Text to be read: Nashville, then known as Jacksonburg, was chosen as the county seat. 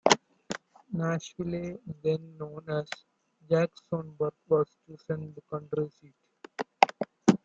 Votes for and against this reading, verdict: 0, 2, rejected